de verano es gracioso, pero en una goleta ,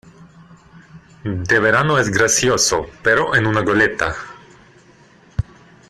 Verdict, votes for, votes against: accepted, 2, 1